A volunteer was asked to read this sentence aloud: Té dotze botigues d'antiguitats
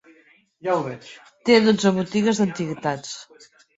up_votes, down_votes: 1, 2